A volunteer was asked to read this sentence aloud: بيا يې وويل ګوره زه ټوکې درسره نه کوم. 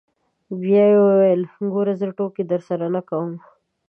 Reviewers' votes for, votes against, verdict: 2, 1, accepted